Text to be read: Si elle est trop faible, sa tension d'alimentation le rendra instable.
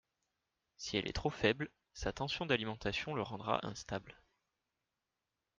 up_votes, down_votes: 2, 0